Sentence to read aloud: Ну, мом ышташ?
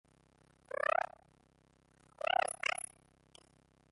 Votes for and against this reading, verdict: 0, 2, rejected